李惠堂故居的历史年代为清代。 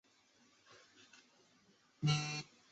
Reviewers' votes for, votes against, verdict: 1, 2, rejected